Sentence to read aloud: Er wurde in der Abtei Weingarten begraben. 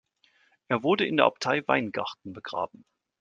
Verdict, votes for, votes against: accepted, 2, 0